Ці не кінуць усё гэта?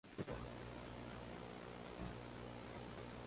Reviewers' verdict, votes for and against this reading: rejected, 0, 2